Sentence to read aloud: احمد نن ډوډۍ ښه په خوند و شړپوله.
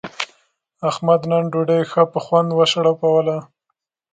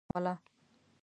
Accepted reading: first